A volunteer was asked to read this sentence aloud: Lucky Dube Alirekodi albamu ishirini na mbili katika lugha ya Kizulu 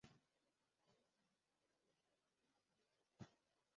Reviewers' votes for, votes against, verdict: 0, 2, rejected